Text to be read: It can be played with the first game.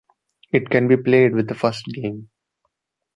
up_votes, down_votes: 2, 0